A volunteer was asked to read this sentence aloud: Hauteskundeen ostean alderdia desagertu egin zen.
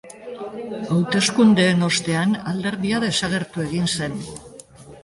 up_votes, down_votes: 2, 1